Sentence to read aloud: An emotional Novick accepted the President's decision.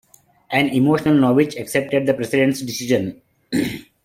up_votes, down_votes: 2, 0